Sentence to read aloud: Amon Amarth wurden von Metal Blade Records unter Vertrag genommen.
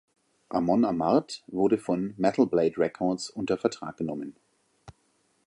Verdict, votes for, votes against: accepted, 2, 0